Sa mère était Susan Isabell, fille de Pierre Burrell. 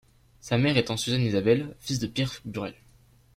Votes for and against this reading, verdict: 1, 2, rejected